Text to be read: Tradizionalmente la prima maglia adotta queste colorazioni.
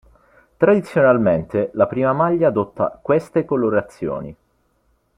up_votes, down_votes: 2, 0